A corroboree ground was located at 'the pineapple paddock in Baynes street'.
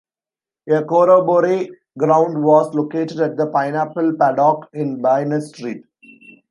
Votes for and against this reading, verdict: 0, 2, rejected